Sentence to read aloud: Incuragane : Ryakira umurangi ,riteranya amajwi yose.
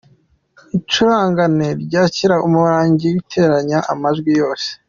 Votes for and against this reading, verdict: 2, 1, accepted